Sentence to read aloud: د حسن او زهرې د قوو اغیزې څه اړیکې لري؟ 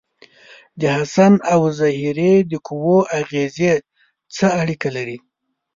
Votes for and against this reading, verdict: 1, 2, rejected